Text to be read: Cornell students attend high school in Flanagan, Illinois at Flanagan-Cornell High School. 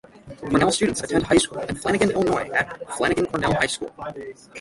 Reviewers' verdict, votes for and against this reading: rejected, 0, 6